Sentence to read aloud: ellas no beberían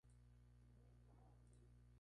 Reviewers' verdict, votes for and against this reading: rejected, 0, 2